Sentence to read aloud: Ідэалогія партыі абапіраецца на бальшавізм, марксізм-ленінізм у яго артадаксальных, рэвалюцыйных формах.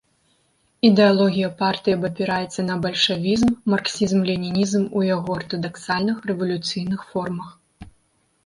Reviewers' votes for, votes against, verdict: 2, 0, accepted